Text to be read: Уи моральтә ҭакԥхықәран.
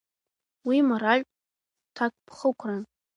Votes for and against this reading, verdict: 2, 0, accepted